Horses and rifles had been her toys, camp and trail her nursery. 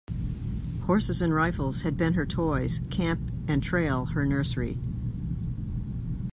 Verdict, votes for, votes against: accepted, 2, 0